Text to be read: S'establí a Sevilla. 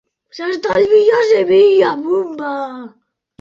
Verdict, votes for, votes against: rejected, 0, 2